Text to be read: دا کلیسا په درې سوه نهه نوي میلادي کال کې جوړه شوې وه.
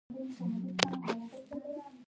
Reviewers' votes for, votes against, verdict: 0, 2, rejected